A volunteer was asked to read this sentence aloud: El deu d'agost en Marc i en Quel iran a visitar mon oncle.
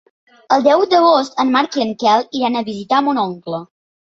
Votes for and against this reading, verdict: 3, 0, accepted